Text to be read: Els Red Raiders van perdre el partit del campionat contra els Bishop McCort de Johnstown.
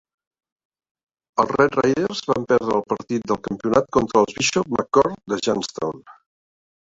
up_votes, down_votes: 1, 2